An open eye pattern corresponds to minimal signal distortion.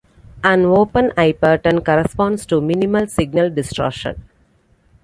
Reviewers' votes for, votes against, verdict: 2, 0, accepted